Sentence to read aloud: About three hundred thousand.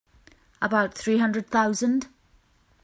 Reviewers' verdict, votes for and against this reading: accepted, 3, 0